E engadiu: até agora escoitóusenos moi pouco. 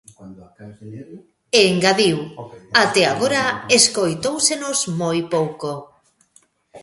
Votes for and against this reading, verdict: 0, 2, rejected